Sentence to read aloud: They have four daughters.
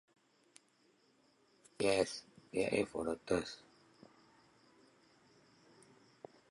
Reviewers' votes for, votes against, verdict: 0, 2, rejected